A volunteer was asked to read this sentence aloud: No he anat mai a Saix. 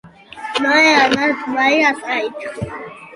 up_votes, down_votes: 1, 2